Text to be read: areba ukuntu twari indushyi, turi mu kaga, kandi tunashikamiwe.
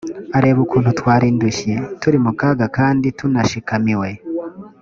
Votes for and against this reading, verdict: 2, 0, accepted